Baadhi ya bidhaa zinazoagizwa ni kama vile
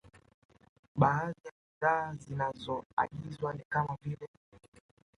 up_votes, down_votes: 0, 2